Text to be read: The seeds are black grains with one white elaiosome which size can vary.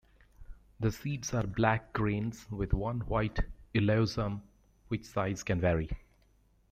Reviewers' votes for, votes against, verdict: 2, 1, accepted